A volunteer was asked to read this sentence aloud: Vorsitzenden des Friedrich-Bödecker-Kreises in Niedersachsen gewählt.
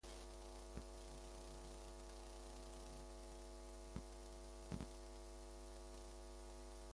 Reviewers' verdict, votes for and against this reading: rejected, 0, 2